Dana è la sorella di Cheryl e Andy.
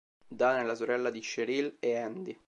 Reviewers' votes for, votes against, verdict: 2, 0, accepted